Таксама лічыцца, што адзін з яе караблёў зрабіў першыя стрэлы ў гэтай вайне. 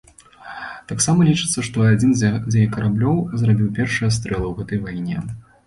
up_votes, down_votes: 1, 2